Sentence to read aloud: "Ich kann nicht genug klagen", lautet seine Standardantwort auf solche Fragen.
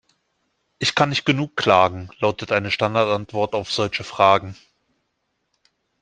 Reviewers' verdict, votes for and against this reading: rejected, 0, 2